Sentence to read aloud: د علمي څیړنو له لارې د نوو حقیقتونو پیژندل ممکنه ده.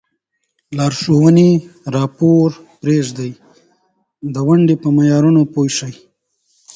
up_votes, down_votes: 1, 2